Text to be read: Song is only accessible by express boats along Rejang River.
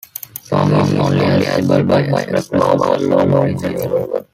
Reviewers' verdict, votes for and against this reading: rejected, 1, 2